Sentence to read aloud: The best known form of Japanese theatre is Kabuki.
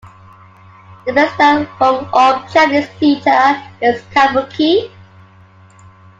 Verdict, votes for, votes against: rejected, 0, 2